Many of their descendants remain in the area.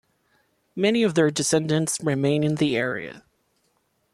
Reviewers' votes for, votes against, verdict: 2, 1, accepted